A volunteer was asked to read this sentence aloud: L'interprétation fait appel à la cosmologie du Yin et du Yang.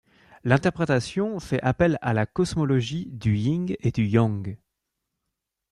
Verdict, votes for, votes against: rejected, 1, 2